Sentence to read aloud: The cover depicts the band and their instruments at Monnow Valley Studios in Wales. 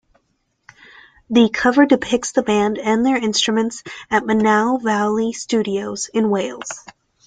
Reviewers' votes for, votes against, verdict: 2, 0, accepted